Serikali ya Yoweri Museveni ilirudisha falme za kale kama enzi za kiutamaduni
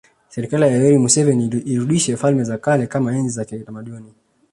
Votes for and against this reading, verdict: 2, 0, accepted